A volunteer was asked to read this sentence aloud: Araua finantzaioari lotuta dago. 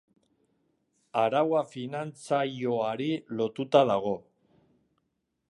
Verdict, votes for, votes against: accepted, 6, 0